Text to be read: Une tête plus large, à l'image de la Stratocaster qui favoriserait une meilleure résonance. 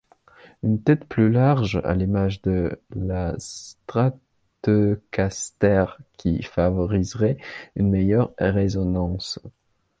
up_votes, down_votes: 0, 2